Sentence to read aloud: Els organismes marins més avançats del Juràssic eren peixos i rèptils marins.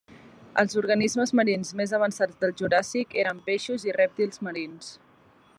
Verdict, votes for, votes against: accepted, 3, 0